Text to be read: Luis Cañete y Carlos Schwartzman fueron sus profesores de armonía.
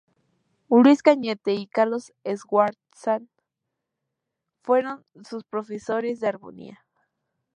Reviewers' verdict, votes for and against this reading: rejected, 0, 4